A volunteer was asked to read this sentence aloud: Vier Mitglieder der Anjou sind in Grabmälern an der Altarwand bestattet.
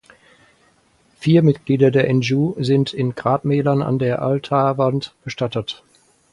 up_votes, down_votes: 0, 4